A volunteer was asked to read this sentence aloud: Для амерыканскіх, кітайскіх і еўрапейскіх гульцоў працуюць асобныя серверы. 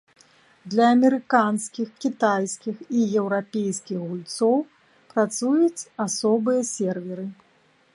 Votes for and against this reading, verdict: 1, 2, rejected